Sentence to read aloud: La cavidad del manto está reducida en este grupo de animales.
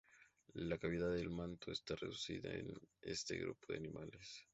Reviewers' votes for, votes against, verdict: 0, 2, rejected